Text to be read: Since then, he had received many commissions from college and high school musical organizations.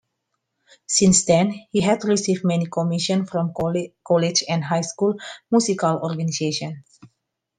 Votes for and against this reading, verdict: 2, 1, accepted